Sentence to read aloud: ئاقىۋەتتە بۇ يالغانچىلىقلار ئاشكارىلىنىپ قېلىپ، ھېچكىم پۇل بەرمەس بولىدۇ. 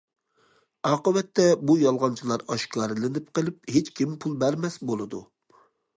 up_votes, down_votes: 0, 2